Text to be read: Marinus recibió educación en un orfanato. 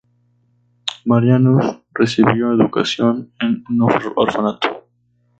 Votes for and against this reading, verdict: 2, 2, rejected